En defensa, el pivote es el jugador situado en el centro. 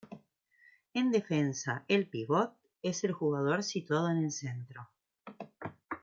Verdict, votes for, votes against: accepted, 2, 0